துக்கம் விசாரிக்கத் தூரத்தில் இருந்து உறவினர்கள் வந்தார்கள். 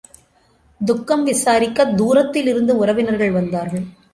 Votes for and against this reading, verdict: 2, 0, accepted